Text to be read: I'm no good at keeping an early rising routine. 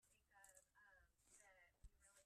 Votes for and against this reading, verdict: 1, 2, rejected